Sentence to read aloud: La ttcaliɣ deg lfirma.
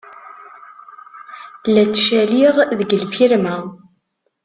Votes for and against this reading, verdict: 2, 0, accepted